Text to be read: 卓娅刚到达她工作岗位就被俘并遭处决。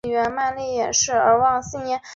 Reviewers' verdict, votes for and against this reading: rejected, 0, 2